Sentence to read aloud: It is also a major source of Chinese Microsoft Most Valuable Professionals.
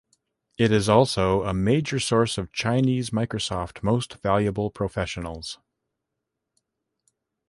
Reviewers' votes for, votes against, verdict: 2, 0, accepted